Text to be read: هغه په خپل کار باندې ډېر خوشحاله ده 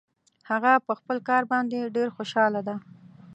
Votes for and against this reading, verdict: 2, 0, accepted